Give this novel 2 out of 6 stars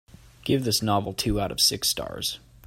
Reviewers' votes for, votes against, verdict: 0, 2, rejected